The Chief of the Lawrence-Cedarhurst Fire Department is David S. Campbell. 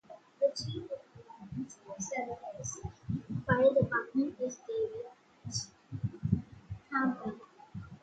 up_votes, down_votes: 0, 2